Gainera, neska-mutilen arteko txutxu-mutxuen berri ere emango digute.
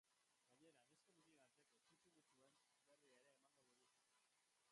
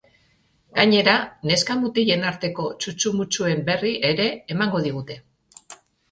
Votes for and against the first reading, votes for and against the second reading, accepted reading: 1, 2, 2, 0, second